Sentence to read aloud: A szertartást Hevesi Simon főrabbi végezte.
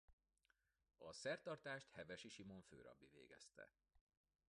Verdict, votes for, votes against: rejected, 0, 2